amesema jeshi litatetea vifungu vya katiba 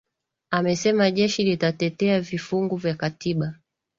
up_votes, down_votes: 2, 0